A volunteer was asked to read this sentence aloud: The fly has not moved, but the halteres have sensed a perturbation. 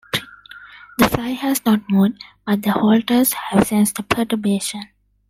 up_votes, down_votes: 0, 2